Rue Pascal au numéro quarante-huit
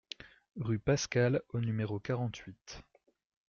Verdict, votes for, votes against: accepted, 2, 0